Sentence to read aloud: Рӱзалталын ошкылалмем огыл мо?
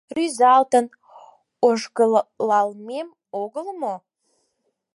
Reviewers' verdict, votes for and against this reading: rejected, 2, 4